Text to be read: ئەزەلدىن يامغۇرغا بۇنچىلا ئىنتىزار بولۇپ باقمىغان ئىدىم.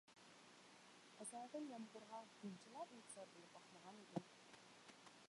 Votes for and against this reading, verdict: 0, 2, rejected